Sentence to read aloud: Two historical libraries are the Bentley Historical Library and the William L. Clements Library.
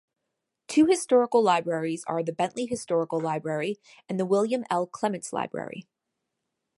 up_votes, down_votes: 2, 0